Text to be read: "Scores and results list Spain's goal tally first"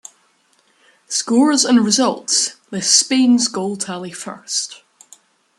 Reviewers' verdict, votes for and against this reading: rejected, 1, 2